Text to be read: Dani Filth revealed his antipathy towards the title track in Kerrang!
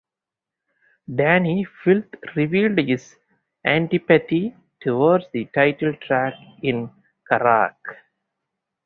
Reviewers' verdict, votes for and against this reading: rejected, 0, 2